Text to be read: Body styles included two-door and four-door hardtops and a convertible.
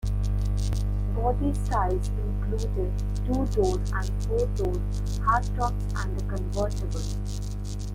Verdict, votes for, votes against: rejected, 0, 3